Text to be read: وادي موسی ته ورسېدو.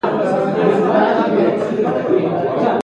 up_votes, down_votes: 0, 2